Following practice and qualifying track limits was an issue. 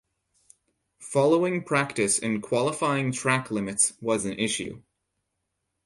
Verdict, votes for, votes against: accepted, 4, 0